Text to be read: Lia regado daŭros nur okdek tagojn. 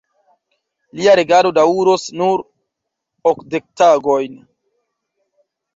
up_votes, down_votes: 0, 2